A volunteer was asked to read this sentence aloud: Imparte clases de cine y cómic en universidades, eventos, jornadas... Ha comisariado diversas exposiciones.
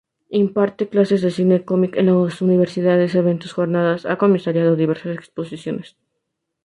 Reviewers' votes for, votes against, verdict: 2, 0, accepted